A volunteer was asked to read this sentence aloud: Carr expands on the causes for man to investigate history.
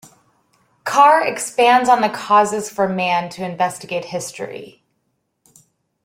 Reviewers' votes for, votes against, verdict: 2, 0, accepted